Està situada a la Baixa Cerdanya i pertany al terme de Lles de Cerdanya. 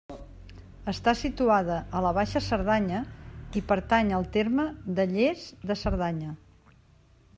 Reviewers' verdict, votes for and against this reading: accepted, 2, 0